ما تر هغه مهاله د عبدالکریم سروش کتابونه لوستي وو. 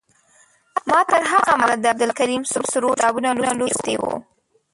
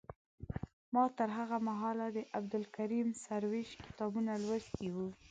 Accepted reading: second